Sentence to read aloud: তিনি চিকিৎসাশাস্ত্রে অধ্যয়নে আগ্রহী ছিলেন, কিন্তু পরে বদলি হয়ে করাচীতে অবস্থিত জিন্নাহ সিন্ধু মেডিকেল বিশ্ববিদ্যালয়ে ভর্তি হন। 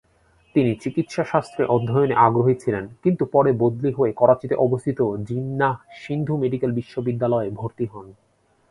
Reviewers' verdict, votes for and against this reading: accepted, 2, 0